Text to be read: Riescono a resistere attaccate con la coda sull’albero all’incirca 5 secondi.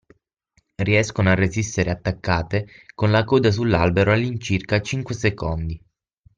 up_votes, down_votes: 0, 2